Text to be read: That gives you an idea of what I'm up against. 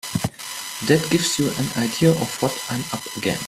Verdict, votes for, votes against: rejected, 1, 2